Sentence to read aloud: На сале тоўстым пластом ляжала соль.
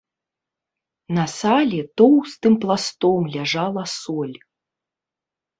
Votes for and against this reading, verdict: 2, 0, accepted